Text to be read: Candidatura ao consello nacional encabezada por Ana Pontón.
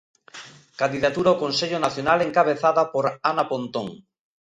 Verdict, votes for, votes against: accepted, 2, 0